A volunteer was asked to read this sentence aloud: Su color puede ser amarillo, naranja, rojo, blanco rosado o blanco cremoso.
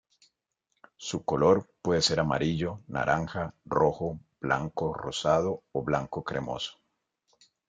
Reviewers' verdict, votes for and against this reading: accepted, 2, 0